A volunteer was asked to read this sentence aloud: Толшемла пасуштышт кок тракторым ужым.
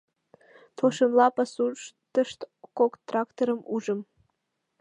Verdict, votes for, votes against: accepted, 2, 0